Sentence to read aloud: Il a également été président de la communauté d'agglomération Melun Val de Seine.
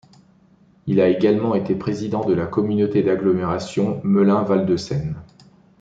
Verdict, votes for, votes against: accepted, 2, 0